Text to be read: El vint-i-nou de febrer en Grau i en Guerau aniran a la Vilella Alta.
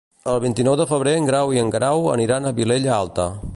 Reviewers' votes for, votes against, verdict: 1, 2, rejected